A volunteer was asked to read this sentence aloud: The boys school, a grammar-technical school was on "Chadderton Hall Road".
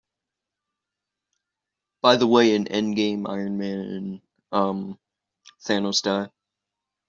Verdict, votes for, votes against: rejected, 0, 2